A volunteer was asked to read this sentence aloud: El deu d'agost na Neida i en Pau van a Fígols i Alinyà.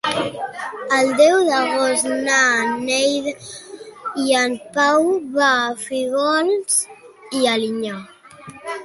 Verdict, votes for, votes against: rejected, 0, 2